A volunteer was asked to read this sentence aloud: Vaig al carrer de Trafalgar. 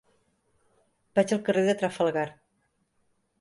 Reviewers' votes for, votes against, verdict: 3, 0, accepted